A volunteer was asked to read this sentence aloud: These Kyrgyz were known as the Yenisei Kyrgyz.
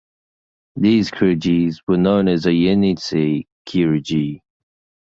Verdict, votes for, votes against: accepted, 2, 0